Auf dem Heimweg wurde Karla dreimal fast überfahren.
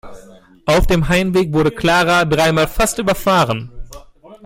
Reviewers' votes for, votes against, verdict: 1, 2, rejected